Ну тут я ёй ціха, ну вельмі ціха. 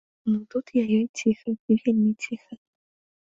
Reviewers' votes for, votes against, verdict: 1, 2, rejected